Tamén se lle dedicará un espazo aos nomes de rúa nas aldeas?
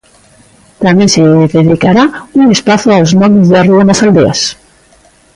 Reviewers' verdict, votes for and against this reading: rejected, 1, 2